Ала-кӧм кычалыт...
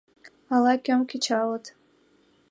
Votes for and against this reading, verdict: 2, 1, accepted